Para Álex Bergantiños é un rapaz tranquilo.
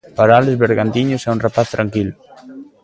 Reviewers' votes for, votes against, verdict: 2, 0, accepted